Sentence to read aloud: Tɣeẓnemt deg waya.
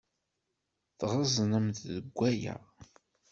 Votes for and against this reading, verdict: 2, 0, accepted